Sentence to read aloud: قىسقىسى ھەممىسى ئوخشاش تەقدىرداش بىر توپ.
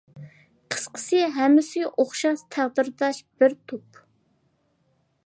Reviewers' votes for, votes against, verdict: 2, 0, accepted